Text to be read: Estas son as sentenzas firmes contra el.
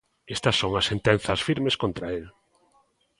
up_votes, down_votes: 2, 0